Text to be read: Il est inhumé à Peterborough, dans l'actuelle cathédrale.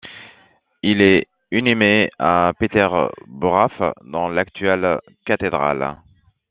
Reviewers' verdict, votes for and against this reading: rejected, 1, 2